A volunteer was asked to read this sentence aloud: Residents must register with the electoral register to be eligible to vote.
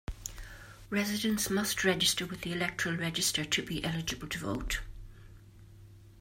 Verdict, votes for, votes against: accepted, 2, 0